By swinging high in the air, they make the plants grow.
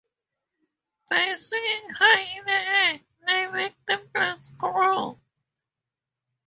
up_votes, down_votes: 2, 0